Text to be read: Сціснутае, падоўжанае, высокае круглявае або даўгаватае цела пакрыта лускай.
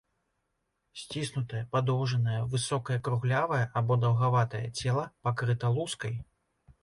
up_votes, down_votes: 2, 0